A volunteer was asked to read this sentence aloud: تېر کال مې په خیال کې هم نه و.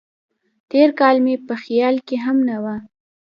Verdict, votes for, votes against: accepted, 2, 0